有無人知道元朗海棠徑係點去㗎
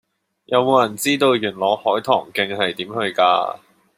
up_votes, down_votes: 2, 1